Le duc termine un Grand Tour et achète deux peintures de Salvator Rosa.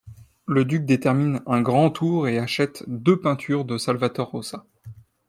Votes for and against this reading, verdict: 2, 0, accepted